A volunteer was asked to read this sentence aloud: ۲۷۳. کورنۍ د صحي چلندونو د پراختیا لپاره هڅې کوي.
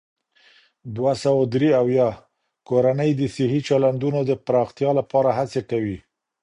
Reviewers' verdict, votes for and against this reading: rejected, 0, 2